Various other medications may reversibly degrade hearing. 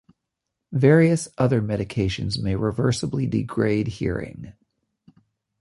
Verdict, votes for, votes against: accepted, 2, 0